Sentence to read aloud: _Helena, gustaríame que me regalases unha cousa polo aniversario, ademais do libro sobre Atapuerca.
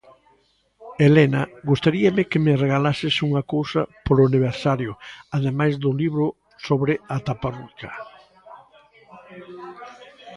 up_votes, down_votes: 0, 2